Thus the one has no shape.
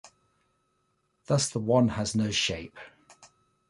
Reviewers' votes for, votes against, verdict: 2, 0, accepted